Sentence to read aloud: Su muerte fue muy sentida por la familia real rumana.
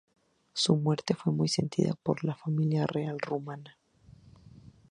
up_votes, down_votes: 0, 2